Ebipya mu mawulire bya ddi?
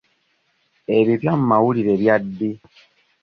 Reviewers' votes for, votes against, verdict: 2, 0, accepted